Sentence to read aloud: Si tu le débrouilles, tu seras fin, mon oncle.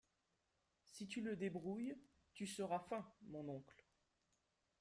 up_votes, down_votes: 0, 2